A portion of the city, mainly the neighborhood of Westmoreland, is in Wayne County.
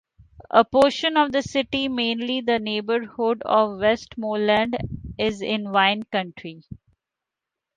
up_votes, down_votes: 1, 2